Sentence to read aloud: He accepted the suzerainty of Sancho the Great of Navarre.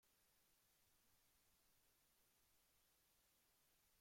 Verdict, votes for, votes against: rejected, 0, 2